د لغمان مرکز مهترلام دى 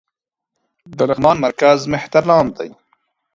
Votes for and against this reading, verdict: 2, 0, accepted